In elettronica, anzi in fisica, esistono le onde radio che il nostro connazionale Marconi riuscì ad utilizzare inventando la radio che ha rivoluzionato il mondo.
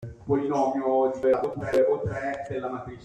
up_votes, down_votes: 0, 2